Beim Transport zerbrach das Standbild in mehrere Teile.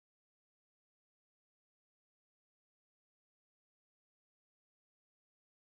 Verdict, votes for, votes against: rejected, 0, 4